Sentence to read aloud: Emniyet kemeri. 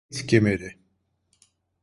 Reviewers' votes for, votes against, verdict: 0, 2, rejected